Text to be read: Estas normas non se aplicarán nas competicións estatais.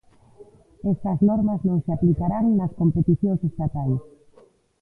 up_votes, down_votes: 0, 2